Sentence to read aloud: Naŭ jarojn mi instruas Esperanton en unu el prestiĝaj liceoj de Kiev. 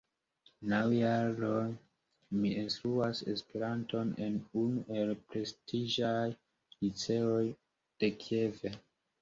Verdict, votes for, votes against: accepted, 2, 0